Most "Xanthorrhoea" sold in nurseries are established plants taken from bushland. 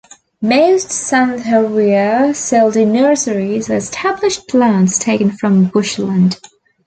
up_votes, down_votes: 0, 2